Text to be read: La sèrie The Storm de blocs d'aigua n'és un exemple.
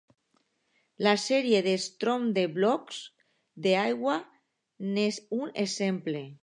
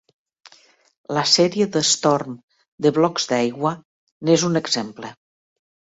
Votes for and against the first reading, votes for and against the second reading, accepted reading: 1, 2, 3, 0, second